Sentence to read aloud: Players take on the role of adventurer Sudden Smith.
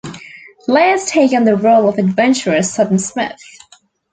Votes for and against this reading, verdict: 2, 0, accepted